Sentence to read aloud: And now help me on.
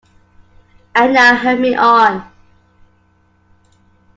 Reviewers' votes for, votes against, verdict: 2, 1, accepted